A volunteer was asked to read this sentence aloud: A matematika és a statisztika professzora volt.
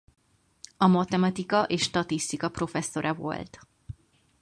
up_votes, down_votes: 0, 4